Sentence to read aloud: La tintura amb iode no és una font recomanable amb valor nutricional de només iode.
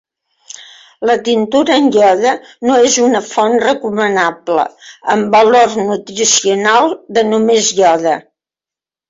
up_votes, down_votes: 2, 0